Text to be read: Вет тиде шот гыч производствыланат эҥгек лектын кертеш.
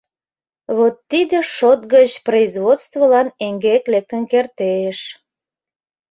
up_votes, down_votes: 0, 2